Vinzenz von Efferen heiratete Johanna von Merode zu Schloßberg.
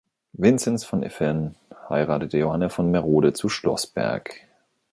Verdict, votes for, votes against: rejected, 1, 2